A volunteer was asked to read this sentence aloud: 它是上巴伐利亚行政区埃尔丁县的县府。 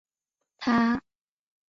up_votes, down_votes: 0, 2